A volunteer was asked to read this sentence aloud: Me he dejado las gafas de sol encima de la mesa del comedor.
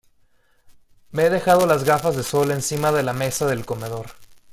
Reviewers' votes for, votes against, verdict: 1, 2, rejected